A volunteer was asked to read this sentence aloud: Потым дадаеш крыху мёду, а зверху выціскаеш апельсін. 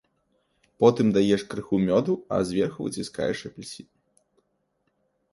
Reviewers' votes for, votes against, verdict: 1, 2, rejected